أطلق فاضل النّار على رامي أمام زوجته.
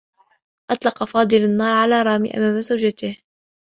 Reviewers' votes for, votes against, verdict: 2, 0, accepted